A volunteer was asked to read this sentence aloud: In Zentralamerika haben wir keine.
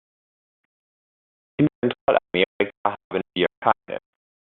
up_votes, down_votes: 0, 2